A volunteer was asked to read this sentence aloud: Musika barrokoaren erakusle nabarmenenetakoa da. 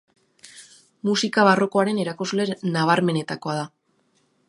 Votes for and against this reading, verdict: 2, 1, accepted